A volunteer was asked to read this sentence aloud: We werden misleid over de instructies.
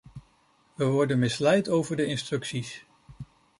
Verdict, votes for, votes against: rejected, 0, 2